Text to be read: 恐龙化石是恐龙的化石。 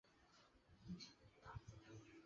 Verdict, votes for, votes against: rejected, 0, 3